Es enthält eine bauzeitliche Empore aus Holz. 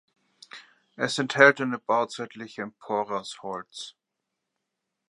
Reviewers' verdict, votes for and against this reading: accepted, 2, 0